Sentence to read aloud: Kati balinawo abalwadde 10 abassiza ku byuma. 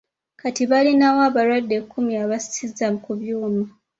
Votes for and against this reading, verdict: 0, 2, rejected